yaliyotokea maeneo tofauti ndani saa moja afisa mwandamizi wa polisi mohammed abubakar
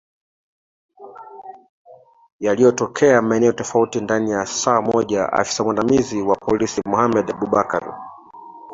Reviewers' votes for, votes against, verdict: 1, 2, rejected